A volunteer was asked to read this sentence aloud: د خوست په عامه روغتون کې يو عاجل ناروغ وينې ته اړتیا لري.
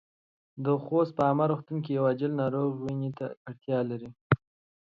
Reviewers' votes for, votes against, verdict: 2, 0, accepted